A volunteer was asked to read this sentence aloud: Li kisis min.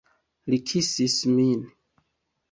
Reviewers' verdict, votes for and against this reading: accepted, 2, 0